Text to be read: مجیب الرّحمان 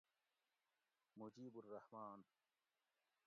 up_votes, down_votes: 1, 2